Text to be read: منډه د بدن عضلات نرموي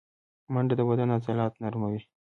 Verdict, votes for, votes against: accepted, 2, 0